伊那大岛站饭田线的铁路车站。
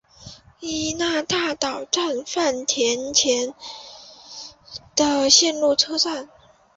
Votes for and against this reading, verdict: 0, 2, rejected